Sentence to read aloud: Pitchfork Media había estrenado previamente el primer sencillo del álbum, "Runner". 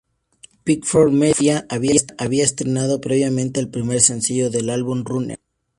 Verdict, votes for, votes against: accepted, 2, 0